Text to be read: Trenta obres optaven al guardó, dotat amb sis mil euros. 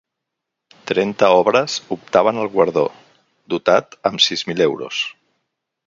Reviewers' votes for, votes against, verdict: 4, 0, accepted